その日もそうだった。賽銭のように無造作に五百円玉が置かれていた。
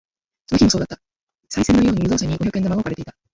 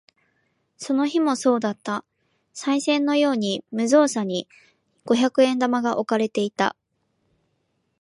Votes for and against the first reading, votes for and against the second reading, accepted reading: 0, 2, 2, 1, second